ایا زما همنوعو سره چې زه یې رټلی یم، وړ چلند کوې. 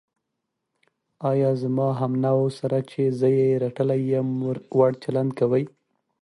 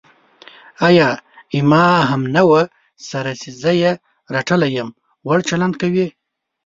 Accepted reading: first